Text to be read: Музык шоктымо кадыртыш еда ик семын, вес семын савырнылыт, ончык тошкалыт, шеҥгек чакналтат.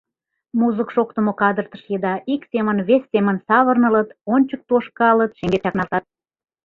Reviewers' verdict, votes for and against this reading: accepted, 2, 0